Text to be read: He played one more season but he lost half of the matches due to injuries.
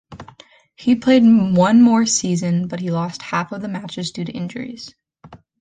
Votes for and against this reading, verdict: 2, 0, accepted